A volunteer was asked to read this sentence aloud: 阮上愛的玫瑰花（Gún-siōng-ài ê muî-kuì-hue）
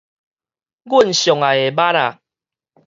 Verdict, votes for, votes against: rejected, 0, 4